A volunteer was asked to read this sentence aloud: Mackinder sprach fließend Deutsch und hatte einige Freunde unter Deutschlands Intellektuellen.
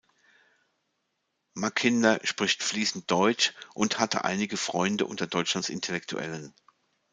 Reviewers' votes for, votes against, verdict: 1, 2, rejected